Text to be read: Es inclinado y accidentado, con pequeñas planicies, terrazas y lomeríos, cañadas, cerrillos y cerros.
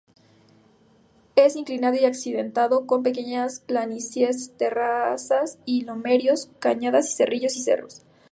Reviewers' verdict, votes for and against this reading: rejected, 0, 2